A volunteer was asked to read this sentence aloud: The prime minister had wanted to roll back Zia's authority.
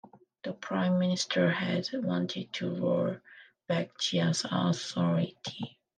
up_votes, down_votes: 3, 2